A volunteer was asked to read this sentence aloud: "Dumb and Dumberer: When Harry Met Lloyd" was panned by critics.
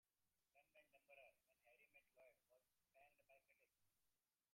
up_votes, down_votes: 0, 2